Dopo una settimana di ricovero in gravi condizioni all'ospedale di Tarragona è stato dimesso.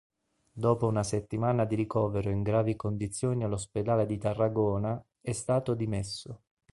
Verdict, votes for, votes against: accepted, 2, 0